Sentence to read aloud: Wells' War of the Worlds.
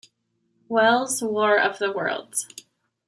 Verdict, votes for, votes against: rejected, 1, 2